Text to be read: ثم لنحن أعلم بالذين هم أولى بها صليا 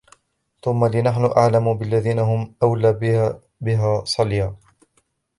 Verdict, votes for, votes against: rejected, 0, 2